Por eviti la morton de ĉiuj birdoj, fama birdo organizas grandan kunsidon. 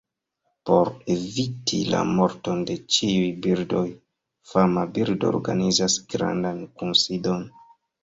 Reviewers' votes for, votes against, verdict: 2, 0, accepted